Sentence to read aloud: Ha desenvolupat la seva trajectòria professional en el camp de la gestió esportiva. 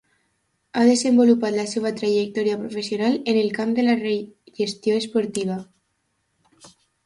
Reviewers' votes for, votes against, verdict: 0, 2, rejected